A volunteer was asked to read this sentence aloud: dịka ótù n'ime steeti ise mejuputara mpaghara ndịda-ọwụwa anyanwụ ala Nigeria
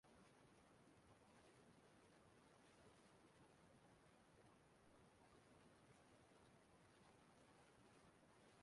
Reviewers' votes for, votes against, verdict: 0, 2, rejected